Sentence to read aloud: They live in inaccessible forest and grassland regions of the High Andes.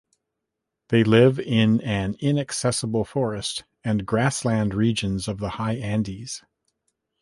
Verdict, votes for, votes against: rejected, 2, 3